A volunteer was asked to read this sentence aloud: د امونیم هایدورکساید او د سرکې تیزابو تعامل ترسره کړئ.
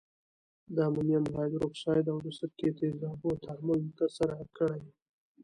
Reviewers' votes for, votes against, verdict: 0, 2, rejected